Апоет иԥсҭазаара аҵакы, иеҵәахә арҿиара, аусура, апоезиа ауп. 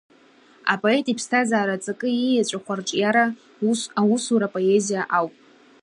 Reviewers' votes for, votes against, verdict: 1, 2, rejected